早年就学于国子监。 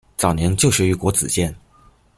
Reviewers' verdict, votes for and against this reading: accepted, 2, 0